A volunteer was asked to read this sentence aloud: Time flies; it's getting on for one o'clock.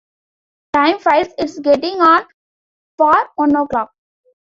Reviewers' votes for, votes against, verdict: 2, 1, accepted